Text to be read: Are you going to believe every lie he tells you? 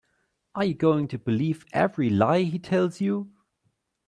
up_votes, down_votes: 2, 0